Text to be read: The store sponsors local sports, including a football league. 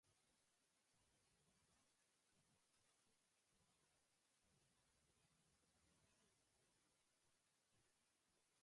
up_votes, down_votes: 0, 2